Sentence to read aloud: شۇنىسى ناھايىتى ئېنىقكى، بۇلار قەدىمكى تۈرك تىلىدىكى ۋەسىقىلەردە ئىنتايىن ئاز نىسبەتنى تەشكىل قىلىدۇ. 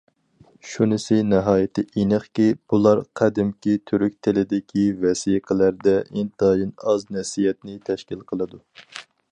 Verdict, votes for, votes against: rejected, 0, 4